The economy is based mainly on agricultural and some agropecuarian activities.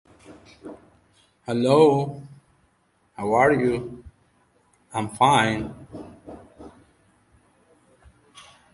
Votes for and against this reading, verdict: 0, 2, rejected